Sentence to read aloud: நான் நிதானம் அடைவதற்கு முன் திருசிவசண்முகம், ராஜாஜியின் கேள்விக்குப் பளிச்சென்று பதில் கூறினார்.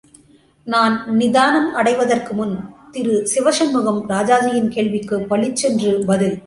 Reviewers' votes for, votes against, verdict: 0, 2, rejected